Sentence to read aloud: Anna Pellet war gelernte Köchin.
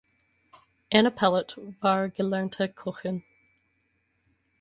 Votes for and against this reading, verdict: 4, 2, accepted